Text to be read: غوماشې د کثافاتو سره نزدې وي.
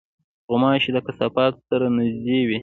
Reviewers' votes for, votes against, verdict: 2, 0, accepted